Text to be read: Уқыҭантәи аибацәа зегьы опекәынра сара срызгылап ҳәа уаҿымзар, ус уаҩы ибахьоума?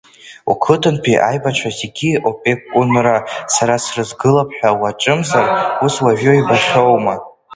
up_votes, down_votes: 1, 2